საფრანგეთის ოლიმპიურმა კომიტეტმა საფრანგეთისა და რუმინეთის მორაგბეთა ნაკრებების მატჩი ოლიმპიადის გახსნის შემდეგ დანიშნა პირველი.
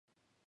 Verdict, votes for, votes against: rejected, 1, 2